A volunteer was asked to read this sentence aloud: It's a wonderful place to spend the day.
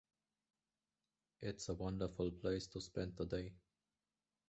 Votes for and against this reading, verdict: 0, 2, rejected